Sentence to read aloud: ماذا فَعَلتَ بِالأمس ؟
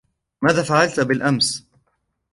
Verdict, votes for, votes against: accepted, 2, 1